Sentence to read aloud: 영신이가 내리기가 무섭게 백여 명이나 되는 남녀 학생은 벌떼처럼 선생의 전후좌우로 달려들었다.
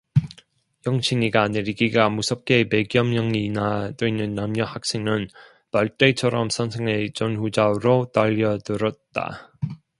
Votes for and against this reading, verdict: 2, 0, accepted